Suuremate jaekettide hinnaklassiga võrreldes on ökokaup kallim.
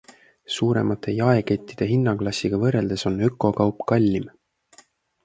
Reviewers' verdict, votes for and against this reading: accepted, 2, 0